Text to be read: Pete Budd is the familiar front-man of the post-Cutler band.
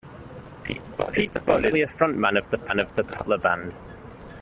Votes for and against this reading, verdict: 1, 2, rejected